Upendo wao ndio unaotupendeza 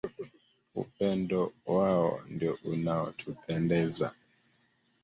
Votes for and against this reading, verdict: 1, 2, rejected